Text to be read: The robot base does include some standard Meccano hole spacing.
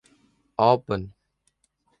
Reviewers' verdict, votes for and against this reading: rejected, 1, 2